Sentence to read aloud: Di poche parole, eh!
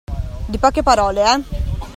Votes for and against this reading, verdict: 2, 0, accepted